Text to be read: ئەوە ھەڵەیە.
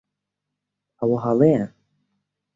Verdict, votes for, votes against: accepted, 2, 0